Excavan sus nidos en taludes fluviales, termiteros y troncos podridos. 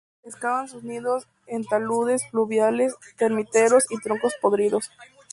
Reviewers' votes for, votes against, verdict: 4, 0, accepted